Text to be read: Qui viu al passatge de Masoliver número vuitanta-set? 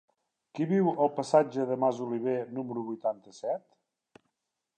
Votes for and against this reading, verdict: 3, 0, accepted